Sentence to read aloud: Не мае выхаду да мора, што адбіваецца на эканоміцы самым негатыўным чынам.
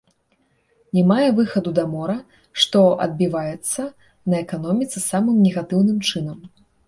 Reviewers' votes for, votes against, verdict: 2, 1, accepted